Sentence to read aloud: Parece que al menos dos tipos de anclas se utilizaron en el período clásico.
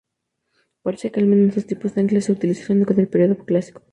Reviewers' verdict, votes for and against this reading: rejected, 0, 2